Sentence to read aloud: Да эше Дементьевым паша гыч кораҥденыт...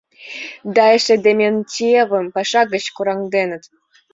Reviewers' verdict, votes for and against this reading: accepted, 2, 0